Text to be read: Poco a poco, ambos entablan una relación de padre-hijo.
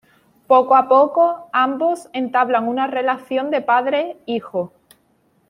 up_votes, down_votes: 2, 0